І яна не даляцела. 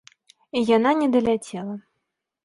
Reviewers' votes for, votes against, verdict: 3, 0, accepted